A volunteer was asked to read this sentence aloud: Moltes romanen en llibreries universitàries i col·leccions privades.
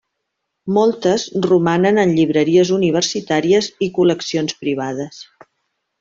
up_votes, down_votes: 1, 2